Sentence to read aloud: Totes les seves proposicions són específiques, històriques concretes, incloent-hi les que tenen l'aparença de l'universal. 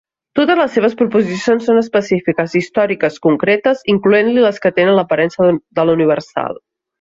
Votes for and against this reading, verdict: 1, 2, rejected